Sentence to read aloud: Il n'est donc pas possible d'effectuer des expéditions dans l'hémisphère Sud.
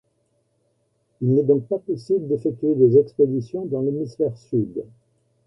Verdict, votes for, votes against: accepted, 2, 0